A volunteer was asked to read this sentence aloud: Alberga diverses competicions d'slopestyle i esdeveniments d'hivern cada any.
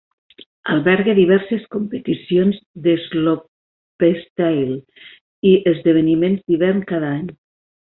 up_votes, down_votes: 2, 0